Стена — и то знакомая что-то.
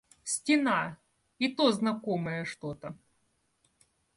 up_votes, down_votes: 2, 0